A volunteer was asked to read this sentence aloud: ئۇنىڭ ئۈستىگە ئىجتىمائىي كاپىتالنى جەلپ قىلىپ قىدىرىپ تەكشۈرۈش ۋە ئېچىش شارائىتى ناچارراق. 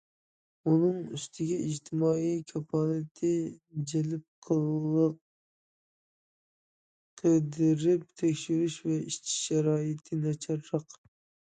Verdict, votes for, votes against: rejected, 0, 2